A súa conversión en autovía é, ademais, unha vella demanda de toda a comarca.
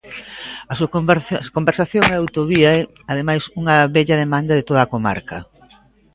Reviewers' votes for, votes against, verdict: 0, 2, rejected